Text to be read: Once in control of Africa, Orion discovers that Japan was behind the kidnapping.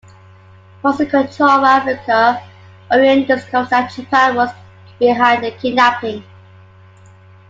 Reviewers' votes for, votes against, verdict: 2, 1, accepted